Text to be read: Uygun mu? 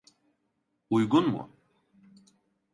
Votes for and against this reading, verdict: 2, 0, accepted